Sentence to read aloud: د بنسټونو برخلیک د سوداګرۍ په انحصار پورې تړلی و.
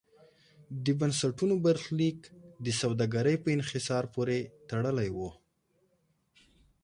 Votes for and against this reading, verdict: 2, 0, accepted